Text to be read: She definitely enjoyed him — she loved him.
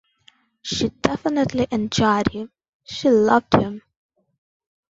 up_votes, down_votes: 2, 0